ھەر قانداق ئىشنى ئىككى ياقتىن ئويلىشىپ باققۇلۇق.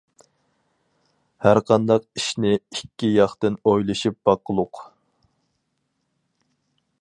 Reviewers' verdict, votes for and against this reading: accepted, 4, 0